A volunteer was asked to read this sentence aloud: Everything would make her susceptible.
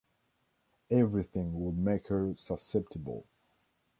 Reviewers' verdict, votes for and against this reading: accepted, 2, 0